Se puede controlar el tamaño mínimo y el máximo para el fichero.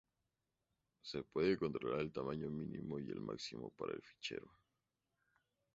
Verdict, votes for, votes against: accepted, 2, 0